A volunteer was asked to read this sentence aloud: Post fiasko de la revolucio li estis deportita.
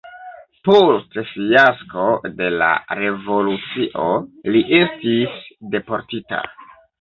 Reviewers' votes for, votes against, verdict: 0, 2, rejected